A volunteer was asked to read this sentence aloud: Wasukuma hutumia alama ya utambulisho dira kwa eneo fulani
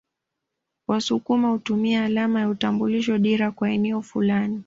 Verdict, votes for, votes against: accepted, 2, 0